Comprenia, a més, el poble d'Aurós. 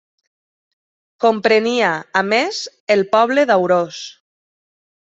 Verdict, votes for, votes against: rejected, 1, 2